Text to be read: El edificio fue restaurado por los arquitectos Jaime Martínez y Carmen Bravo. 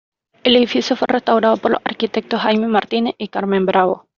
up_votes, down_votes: 2, 0